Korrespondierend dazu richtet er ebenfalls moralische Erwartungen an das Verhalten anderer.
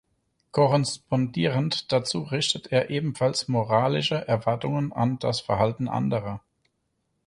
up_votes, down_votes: 2, 4